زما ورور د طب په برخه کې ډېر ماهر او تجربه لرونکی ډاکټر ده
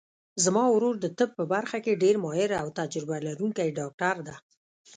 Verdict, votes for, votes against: accepted, 2, 0